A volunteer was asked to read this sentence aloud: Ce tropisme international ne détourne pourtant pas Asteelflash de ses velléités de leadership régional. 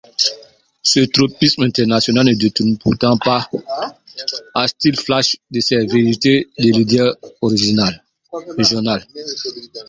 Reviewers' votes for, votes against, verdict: 0, 2, rejected